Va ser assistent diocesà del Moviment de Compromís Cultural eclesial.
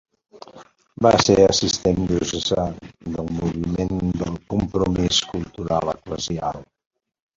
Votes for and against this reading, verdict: 2, 0, accepted